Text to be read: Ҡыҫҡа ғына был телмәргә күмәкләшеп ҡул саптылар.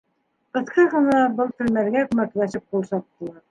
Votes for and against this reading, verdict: 2, 0, accepted